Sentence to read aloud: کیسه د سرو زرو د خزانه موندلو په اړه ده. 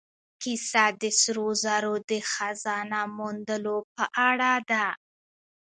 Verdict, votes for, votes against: accepted, 2, 0